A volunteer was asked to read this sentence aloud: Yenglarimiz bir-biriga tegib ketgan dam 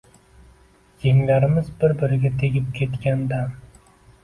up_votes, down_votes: 2, 0